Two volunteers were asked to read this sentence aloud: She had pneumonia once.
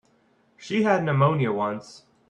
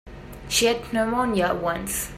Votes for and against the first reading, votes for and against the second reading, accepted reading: 2, 1, 1, 2, first